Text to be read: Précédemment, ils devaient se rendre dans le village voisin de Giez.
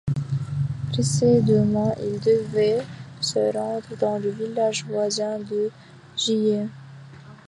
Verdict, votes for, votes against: rejected, 0, 2